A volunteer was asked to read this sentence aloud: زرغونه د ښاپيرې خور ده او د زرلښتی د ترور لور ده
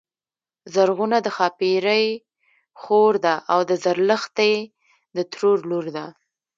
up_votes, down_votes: 1, 2